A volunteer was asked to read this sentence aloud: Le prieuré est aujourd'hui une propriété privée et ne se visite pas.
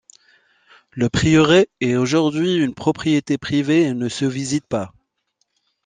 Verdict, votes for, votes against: rejected, 0, 2